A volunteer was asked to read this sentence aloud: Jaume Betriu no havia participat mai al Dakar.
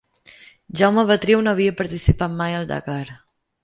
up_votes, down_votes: 2, 0